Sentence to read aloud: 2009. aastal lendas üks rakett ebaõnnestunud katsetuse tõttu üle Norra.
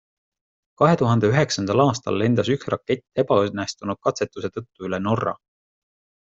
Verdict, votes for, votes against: rejected, 0, 2